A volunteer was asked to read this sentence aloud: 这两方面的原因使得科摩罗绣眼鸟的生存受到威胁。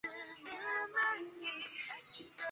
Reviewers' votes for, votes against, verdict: 0, 3, rejected